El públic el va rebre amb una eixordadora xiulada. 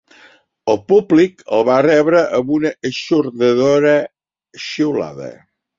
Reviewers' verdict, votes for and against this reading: accepted, 2, 1